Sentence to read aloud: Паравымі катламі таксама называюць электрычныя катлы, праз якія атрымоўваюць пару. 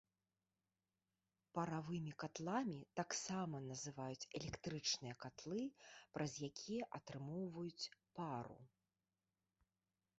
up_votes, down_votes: 0, 2